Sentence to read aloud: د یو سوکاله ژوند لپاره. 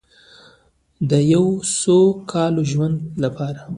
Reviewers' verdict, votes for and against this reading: accepted, 2, 0